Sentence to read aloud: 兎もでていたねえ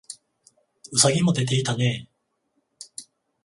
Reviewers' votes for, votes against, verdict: 14, 7, accepted